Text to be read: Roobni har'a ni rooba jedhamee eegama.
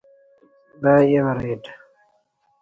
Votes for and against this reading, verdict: 0, 2, rejected